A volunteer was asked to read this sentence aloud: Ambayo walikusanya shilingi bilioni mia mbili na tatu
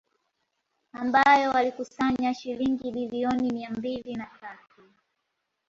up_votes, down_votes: 0, 2